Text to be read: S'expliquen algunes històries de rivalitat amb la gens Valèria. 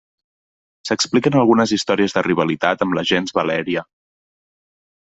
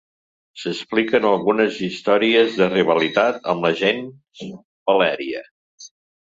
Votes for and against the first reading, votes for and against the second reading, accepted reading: 3, 0, 1, 2, first